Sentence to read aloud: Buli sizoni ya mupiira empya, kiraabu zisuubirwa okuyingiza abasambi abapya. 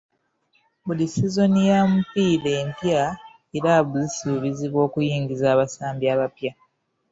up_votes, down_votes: 1, 2